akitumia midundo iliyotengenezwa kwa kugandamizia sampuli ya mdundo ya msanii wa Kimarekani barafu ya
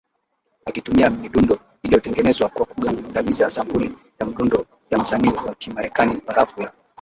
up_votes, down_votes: 0, 2